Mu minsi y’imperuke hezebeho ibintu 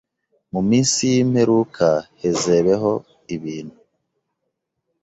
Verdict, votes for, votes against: rejected, 1, 2